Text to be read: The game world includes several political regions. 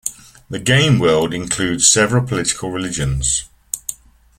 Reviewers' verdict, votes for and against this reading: rejected, 1, 2